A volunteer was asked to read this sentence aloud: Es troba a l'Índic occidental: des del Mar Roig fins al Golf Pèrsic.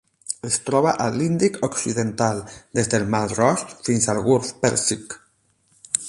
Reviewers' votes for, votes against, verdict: 8, 4, accepted